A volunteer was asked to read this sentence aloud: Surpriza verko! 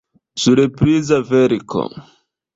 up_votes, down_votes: 2, 0